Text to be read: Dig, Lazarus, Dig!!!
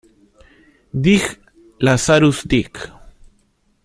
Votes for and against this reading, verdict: 1, 2, rejected